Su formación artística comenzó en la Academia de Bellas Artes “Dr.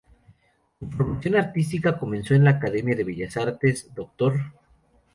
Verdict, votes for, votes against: rejected, 0, 2